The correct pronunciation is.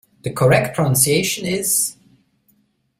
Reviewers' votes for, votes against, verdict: 2, 1, accepted